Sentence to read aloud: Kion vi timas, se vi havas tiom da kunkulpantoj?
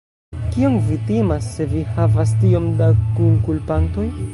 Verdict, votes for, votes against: rejected, 0, 2